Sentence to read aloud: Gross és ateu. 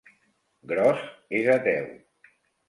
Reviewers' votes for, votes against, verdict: 4, 0, accepted